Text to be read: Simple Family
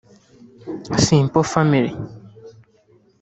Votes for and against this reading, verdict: 0, 2, rejected